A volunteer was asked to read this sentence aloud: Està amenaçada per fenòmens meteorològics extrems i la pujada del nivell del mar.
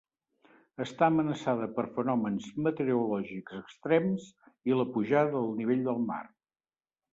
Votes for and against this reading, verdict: 2, 0, accepted